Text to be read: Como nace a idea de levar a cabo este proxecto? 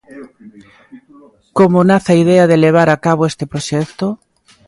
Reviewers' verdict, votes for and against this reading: rejected, 0, 2